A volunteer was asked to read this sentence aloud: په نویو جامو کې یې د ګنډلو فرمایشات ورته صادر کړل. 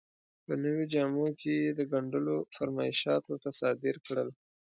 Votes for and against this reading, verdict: 2, 0, accepted